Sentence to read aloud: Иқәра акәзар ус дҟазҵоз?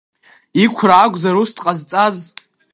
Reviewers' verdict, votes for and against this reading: rejected, 1, 2